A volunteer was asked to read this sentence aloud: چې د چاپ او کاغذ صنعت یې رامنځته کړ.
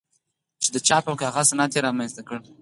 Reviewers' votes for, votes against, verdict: 4, 0, accepted